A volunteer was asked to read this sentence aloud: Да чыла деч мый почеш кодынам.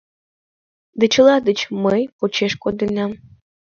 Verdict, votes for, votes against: accepted, 2, 0